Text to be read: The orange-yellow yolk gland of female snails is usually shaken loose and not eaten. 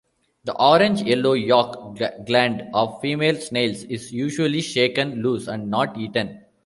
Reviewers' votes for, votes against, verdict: 2, 1, accepted